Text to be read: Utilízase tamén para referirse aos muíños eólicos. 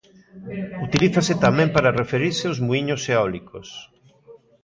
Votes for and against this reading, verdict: 2, 0, accepted